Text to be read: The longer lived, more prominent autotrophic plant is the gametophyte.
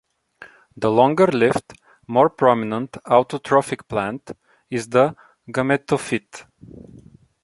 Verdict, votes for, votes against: rejected, 0, 2